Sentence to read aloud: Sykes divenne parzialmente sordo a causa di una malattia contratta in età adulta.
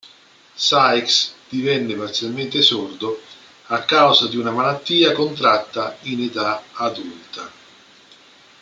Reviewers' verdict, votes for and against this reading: rejected, 1, 2